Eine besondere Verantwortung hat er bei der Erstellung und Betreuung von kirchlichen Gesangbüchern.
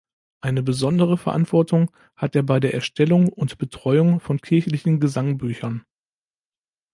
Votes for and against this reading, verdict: 2, 0, accepted